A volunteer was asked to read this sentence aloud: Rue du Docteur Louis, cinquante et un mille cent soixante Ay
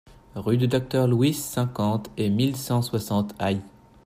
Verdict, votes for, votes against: rejected, 0, 2